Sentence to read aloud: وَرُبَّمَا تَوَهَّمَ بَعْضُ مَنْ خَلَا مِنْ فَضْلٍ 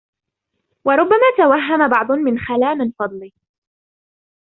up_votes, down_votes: 1, 2